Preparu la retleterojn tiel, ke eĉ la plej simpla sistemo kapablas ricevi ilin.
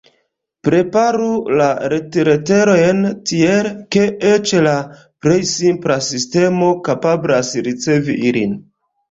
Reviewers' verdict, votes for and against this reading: rejected, 1, 2